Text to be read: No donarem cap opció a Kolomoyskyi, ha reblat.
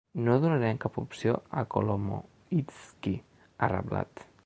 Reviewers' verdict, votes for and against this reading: accepted, 2, 1